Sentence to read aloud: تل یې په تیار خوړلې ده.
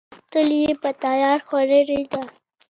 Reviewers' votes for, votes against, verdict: 2, 0, accepted